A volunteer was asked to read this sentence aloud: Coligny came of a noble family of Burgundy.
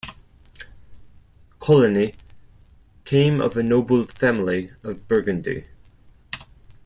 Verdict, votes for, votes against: accepted, 4, 2